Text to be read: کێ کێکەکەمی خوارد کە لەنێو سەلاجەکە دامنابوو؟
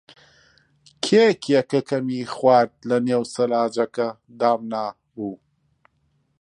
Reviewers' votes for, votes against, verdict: 0, 2, rejected